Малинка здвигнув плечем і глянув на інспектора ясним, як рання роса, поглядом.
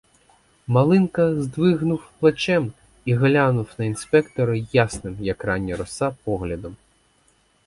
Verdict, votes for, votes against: accepted, 4, 0